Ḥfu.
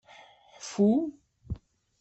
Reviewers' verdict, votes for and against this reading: accepted, 2, 0